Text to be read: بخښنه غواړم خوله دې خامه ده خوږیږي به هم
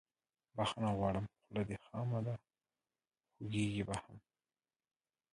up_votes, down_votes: 2, 1